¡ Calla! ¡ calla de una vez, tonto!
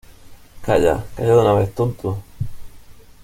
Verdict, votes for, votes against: accepted, 2, 0